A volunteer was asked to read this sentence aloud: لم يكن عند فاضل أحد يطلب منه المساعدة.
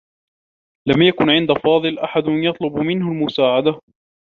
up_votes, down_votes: 2, 0